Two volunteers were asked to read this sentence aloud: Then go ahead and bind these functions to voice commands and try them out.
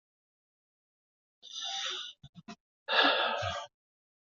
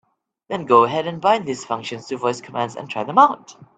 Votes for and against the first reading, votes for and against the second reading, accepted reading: 0, 3, 2, 0, second